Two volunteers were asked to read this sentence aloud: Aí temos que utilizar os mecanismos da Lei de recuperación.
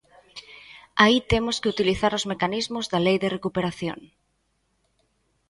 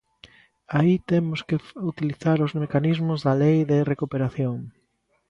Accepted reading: first